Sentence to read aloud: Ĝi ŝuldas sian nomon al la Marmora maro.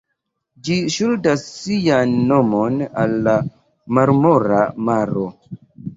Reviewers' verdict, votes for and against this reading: accepted, 2, 0